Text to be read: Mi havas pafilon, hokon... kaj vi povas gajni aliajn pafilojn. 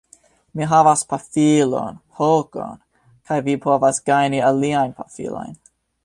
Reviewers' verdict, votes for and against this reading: accepted, 2, 1